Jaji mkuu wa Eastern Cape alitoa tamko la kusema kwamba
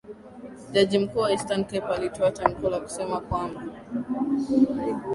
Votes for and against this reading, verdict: 2, 0, accepted